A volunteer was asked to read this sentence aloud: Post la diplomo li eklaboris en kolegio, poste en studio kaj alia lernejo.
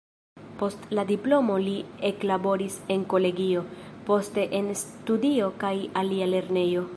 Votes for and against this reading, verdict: 0, 2, rejected